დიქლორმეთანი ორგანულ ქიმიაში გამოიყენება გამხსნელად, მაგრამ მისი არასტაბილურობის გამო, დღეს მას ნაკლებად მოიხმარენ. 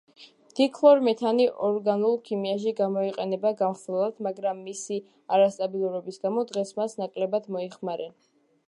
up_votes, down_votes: 1, 2